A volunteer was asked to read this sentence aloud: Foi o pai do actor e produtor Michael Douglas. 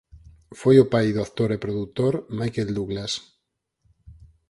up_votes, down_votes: 2, 4